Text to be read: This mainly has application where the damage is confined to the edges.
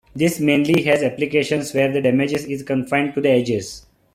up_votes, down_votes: 0, 2